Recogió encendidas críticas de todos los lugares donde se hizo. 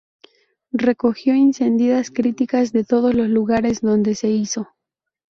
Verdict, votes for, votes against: accepted, 2, 0